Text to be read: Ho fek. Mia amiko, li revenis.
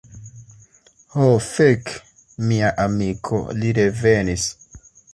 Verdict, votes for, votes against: rejected, 1, 2